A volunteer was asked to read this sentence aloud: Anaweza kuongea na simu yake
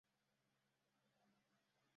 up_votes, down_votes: 0, 2